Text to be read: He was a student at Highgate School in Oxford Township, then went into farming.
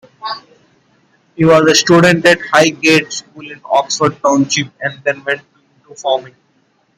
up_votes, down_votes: 1, 2